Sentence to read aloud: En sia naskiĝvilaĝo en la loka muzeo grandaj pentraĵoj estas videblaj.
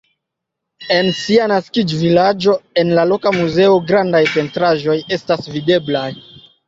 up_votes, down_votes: 3, 0